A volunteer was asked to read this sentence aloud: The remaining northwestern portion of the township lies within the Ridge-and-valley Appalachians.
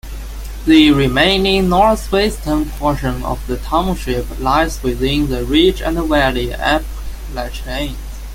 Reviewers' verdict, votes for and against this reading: accepted, 2, 1